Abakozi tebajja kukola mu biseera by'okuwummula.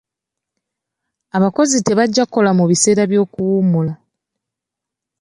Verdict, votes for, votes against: accepted, 2, 0